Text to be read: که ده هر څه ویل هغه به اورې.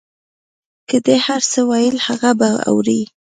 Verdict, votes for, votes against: accepted, 3, 0